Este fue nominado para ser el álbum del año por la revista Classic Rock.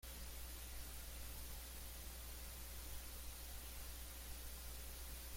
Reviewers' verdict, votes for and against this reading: rejected, 0, 2